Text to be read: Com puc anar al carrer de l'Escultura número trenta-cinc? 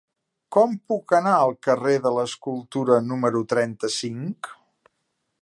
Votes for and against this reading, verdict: 3, 0, accepted